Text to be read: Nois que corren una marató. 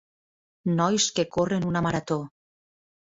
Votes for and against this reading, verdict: 3, 0, accepted